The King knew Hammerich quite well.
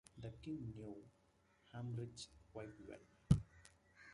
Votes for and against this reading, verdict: 0, 2, rejected